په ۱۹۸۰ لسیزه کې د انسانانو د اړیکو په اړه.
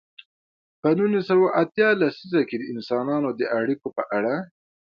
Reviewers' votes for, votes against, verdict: 0, 2, rejected